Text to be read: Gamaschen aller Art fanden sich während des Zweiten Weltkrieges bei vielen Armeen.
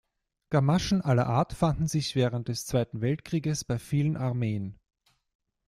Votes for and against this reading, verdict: 2, 1, accepted